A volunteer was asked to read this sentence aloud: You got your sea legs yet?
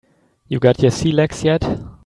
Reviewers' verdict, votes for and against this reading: rejected, 0, 2